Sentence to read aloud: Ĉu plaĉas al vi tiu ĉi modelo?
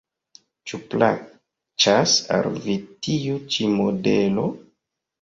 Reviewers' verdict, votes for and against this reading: rejected, 1, 2